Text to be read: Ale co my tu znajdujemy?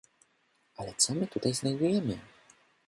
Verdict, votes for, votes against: rejected, 0, 2